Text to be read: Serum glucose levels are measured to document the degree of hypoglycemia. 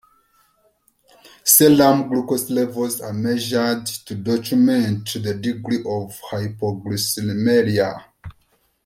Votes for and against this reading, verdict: 0, 2, rejected